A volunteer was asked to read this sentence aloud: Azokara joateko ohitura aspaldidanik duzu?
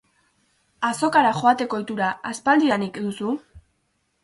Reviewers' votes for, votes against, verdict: 4, 0, accepted